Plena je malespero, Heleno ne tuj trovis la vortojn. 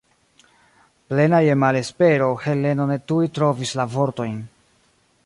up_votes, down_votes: 1, 2